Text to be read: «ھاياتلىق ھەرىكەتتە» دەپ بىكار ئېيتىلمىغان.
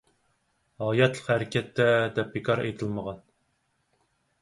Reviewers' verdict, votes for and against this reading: accepted, 4, 0